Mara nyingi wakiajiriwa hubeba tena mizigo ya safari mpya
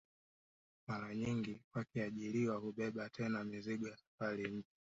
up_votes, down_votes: 1, 2